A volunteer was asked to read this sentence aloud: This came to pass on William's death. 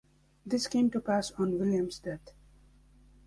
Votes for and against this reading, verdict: 2, 0, accepted